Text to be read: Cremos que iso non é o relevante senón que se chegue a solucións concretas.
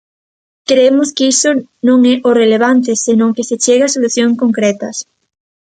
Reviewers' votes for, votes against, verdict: 1, 2, rejected